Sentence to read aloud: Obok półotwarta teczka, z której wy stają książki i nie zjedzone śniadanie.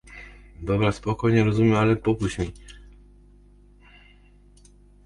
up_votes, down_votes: 0, 2